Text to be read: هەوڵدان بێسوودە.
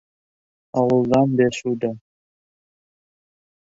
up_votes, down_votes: 2, 0